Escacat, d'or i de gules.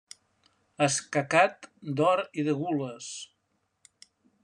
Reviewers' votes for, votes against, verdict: 2, 0, accepted